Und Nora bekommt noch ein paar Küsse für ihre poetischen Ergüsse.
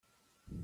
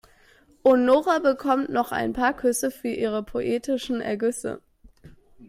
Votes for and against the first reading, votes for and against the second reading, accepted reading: 0, 2, 2, 0, second